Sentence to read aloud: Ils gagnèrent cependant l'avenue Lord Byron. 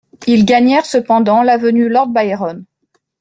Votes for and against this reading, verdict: 2, 0, accepted